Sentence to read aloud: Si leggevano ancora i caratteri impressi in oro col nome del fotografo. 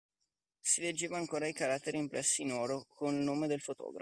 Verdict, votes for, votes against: rejected, 1, 2